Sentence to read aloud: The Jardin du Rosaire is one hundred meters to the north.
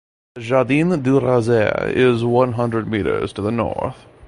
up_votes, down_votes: 0, 2